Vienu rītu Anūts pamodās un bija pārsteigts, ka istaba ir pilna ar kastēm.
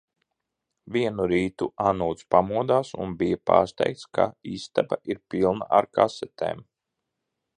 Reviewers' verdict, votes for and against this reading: rejected, 1, 2